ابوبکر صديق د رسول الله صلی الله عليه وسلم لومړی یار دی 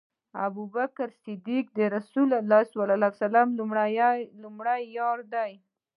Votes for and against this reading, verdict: 2, 0, accepted